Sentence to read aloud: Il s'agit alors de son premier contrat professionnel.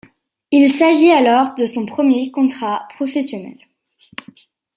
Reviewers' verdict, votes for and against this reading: accepted, 2, 0